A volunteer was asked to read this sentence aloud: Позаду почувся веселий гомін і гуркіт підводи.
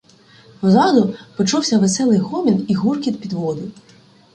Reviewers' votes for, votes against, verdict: 2, 0, accepted